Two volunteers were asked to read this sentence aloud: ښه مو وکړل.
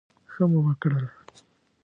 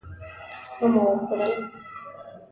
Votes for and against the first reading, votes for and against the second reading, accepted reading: 2, 0, 1, 2, first